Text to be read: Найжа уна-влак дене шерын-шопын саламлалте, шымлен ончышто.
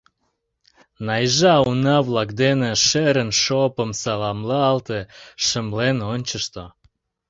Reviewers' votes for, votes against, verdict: 1, 2, rejected